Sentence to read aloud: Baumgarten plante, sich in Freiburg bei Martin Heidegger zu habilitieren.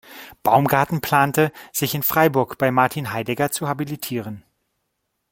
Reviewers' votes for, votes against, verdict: 2, 0, accepted